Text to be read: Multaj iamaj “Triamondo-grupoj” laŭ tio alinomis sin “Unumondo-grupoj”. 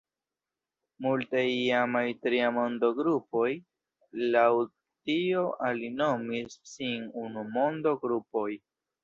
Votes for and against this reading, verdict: 1, 2, rejected